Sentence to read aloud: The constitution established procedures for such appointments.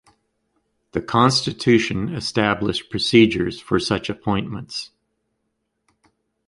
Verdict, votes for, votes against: accepted, 2, 0